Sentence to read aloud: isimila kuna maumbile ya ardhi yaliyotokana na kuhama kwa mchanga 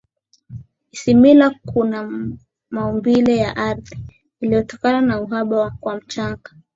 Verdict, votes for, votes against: rejected, 5, 6